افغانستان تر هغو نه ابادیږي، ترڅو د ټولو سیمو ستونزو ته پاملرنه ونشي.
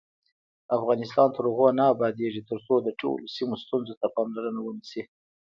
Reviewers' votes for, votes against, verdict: 1, 2, rejected